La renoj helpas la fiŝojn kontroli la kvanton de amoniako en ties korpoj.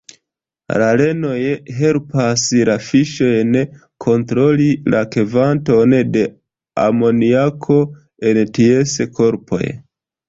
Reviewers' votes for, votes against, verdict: 1, 2, rejected